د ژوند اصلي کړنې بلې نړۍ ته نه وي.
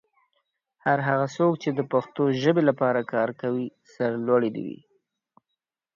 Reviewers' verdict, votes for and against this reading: rejected, 0, 2